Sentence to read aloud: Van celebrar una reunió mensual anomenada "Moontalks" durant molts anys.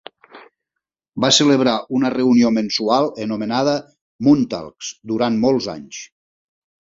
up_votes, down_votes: 0, 3